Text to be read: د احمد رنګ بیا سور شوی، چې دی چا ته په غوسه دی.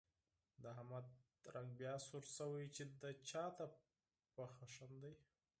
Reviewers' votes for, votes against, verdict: 2, 4, rejected